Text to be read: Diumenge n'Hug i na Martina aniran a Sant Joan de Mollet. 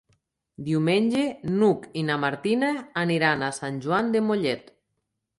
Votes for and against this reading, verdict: 3, 0, accepted